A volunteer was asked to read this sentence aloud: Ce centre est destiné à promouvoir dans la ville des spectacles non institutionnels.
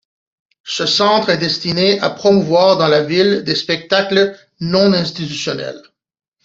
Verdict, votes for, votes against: accepted, 2, 0